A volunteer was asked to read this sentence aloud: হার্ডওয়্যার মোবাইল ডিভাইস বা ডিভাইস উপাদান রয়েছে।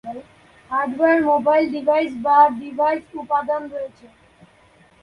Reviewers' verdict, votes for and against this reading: rejected, 1, 2